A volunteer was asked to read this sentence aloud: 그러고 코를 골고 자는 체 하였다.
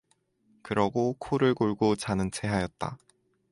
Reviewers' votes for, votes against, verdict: 0, 2, rejected